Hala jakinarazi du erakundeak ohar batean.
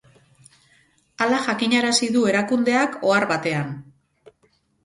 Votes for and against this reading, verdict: 4, 0, accepted